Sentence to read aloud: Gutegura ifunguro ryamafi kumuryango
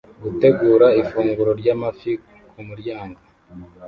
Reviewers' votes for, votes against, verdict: 1, 2, rejected